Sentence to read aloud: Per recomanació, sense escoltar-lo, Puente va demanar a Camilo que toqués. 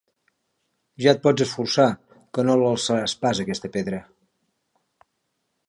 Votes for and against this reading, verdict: 0, 4, rejected